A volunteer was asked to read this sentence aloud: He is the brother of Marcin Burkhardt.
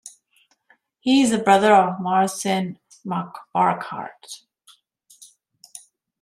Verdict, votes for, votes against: rejected, 1, 2